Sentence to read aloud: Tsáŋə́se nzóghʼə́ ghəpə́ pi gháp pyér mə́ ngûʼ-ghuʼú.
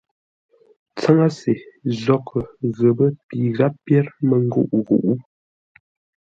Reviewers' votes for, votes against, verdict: 2, 0, accepted